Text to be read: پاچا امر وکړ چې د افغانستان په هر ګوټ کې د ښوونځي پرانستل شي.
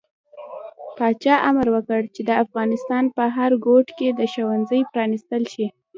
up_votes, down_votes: 1, 2